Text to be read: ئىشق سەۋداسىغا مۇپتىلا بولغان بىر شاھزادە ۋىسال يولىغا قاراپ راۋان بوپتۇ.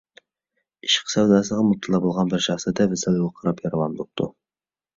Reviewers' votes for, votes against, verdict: 1, 3, rejected